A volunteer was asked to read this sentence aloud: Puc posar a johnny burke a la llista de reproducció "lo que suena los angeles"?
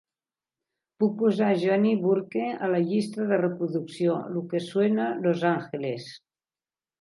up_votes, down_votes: 2, 1